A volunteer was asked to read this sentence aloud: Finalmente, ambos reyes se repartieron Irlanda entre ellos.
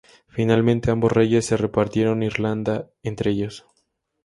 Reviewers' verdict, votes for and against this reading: accepted, 2, 0